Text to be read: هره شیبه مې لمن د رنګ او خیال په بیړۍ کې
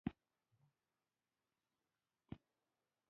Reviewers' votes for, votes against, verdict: 1, 2, rejected